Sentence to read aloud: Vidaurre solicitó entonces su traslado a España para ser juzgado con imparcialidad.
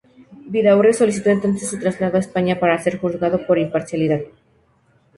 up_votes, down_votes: 2, 0